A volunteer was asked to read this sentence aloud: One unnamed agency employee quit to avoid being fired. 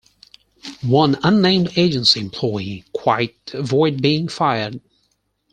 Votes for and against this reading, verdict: 0, 4, rejected